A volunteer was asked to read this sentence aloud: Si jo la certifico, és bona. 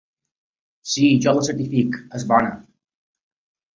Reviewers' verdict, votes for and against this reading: rejected, 0, 2